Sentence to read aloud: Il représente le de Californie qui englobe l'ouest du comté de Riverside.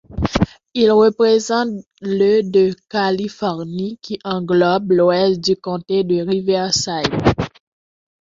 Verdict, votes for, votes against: accepted, 2, 0